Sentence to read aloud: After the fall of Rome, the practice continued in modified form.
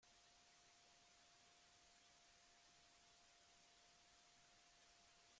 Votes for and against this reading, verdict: 0, 2, rejected